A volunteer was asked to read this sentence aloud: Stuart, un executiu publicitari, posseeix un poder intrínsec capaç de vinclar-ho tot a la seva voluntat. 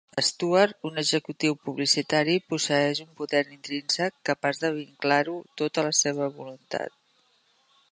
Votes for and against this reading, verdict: 2, 0, accepted